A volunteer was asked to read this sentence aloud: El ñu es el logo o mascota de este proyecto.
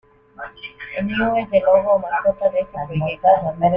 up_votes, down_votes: 0, 2